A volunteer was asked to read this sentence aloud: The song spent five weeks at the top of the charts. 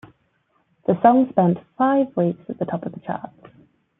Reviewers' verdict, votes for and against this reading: accepted, 2, 1